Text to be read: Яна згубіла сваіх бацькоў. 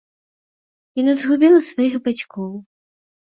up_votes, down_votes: 2, 0